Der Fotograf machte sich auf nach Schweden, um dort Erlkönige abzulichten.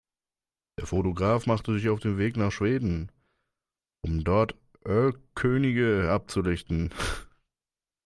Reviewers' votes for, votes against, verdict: 0, 2, rejected